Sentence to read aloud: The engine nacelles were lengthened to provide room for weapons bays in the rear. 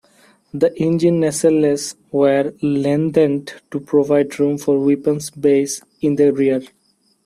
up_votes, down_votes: 2, 1